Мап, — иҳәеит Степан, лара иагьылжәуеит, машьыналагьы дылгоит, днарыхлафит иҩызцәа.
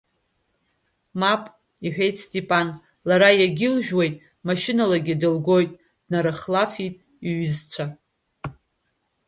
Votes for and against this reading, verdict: 2, 1, accepted